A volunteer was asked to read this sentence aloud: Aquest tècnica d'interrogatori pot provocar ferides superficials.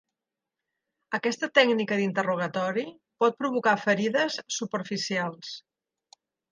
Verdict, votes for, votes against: rejected, 1, 2